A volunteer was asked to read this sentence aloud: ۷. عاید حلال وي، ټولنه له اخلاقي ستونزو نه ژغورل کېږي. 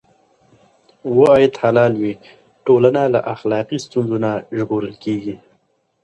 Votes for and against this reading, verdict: 0, 2, rejected